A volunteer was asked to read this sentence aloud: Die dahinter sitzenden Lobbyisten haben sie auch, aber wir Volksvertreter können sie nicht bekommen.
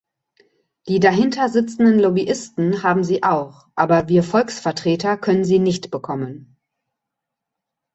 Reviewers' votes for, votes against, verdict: 2, 0, accepted